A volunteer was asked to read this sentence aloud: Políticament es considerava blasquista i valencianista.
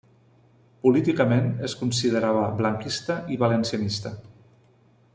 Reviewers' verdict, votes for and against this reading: rejected, 1, 2